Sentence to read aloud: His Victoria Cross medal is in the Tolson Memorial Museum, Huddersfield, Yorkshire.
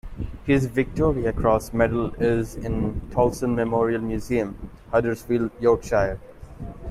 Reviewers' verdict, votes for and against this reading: rejected, 1, 2